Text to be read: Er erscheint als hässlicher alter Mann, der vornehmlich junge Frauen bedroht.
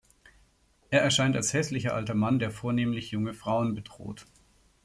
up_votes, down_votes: 2, 0